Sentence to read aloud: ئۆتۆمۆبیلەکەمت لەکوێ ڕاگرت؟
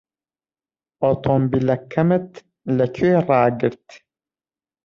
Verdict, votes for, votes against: rejected, 0, 2